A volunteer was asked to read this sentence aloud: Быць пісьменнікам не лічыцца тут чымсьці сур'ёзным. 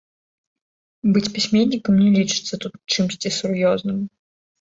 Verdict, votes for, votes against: rejected, 1, 2